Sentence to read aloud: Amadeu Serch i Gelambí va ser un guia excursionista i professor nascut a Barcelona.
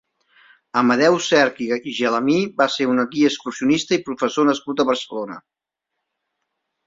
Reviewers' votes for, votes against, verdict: 1, 2, rejected